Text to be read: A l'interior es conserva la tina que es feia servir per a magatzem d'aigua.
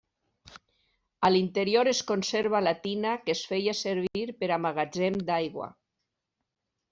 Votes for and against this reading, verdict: 3, 0, accepted